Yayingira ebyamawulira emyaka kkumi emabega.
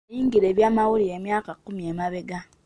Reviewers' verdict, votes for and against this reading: rejected, 1, 2